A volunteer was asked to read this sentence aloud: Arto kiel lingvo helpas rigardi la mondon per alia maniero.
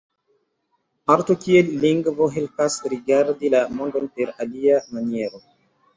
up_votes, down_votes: 2, 1